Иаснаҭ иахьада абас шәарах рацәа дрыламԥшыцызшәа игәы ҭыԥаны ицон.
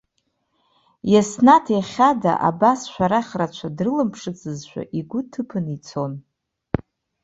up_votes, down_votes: 2, 0